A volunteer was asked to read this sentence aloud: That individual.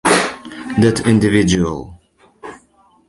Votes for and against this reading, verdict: 0, 2, rejected